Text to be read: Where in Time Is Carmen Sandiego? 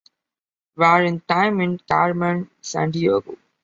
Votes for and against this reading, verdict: 0, 2, rejected